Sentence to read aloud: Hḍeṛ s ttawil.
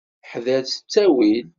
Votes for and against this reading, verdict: 1, 2, rejected